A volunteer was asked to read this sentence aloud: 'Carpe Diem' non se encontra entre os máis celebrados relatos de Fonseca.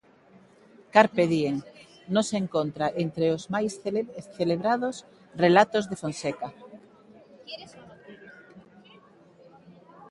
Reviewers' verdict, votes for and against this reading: accepted, 2, 1